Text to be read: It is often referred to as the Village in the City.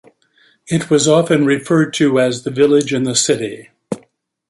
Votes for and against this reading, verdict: 0, 2, rejected